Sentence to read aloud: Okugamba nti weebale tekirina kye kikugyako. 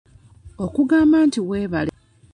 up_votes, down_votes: 0, 2